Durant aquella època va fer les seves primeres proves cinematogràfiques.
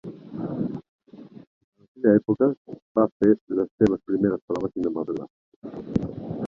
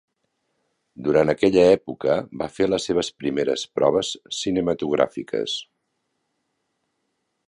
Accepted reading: second